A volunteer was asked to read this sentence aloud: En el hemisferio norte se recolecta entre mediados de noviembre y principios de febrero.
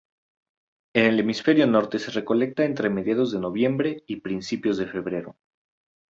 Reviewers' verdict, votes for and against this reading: rejected, 0, 2